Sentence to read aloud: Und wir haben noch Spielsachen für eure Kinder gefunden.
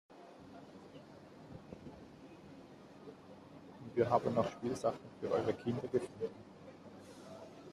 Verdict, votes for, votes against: rejected, 0, 2